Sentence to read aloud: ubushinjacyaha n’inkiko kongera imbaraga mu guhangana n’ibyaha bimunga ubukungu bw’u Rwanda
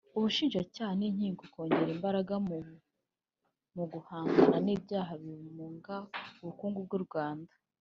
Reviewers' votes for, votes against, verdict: 2, 1, accepted